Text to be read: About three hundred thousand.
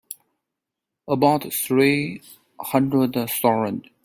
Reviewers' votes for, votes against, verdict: 0, 2, rejected